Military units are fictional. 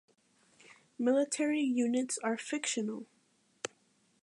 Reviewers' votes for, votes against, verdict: 2, 0, accepted